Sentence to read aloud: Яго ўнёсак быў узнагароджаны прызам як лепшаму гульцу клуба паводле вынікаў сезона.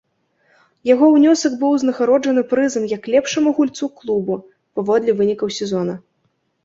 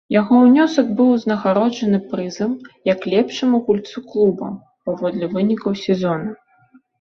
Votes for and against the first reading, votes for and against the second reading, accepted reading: 0, 3, 2, 0, second